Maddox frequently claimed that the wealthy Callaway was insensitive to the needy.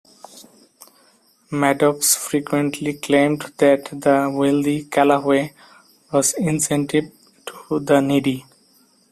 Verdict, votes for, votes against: rejected, 0, 3